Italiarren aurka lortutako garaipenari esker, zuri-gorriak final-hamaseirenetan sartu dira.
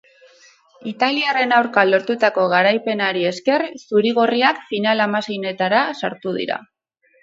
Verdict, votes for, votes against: rejected, 0, 2